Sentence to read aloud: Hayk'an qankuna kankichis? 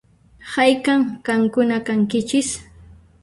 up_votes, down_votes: 0, 2